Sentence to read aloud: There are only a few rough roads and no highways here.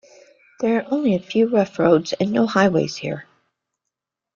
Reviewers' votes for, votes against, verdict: 1, 2, rejected